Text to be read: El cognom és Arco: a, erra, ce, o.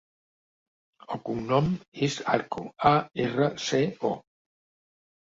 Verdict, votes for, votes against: accepted, 2, 0